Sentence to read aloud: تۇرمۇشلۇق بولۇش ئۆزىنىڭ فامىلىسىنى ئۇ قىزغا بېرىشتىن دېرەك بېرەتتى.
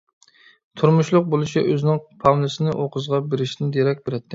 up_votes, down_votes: 0, 2